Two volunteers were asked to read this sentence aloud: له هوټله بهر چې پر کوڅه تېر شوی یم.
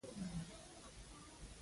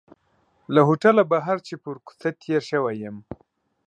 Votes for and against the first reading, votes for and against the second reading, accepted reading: 1, 2, 2, 0, second